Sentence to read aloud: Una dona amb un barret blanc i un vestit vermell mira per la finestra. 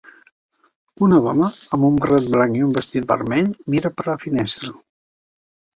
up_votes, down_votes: 2, 1